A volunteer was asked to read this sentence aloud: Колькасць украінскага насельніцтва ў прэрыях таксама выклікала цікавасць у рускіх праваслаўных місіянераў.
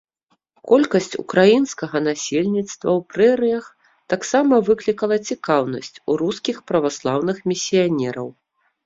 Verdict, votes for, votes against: rejected, 1, 2